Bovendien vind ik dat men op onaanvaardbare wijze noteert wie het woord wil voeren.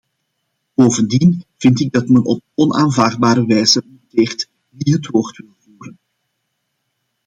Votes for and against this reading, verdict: 0, 2, rejected